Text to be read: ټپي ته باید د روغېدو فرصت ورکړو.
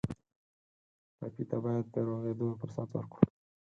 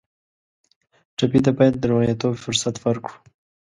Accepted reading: second